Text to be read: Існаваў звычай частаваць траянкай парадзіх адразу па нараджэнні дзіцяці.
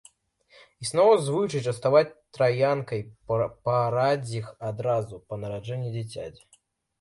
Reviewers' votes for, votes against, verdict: 0, 2, rejected